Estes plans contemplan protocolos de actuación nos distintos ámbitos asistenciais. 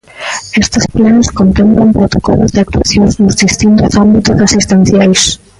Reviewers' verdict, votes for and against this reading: rejected, 0, 2